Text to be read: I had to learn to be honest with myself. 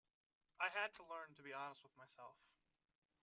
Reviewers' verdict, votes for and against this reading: rejected, 1, 2